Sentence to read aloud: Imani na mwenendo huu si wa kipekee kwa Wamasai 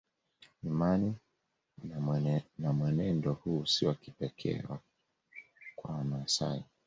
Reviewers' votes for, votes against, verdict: 0, 2, rejected